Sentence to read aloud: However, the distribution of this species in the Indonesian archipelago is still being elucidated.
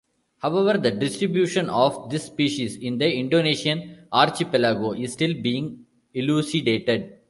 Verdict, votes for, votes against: accepted, 2, 0